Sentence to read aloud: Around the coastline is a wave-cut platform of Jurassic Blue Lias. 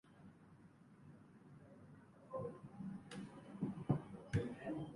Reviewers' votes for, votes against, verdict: 0, 3, rejected